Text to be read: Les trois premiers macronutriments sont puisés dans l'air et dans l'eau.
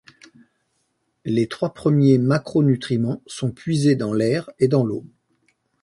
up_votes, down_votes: 2, 0